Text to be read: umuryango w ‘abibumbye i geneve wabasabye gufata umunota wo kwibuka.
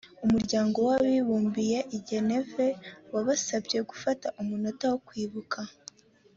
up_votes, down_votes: 2, 0